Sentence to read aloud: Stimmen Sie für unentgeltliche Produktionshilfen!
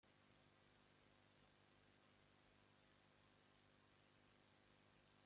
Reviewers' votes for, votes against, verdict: 0, 2, rejected